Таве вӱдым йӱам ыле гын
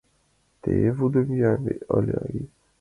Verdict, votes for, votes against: rejected, 0, 2